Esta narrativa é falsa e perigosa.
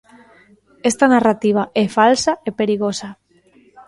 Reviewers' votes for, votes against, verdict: 2, 0, accepted